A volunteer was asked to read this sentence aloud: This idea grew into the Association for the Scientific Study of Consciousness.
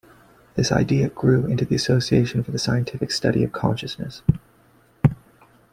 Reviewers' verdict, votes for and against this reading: rejected, 1, 2